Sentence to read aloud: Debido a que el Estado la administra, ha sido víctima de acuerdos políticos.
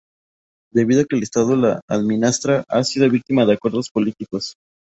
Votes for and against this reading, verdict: 0, 2, rejected